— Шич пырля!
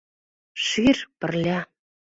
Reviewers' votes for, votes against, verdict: 0, 2, rejected